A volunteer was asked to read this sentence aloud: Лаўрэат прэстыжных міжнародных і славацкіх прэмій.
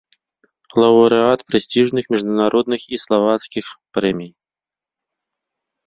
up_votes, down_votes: 0, 2